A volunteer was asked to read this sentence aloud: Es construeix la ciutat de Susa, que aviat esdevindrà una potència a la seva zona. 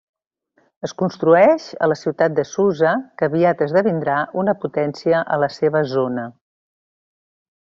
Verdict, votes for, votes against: rejected, 1, 2